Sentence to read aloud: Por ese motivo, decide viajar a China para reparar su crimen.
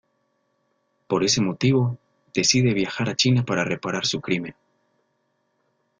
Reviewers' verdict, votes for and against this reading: accepted, 2, 0